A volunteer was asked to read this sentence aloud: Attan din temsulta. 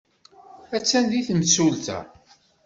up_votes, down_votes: 2, 0